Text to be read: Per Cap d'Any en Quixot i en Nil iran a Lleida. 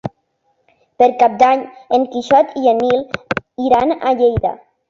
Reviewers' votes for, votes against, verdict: 3, 0, accepted